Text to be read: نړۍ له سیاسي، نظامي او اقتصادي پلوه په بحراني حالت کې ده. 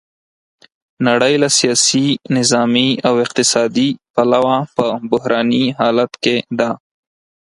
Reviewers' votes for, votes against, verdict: 4, 0, accepted